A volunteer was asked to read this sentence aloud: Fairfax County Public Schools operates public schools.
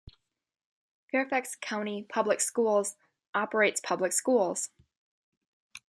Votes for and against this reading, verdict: 2, 0, accepted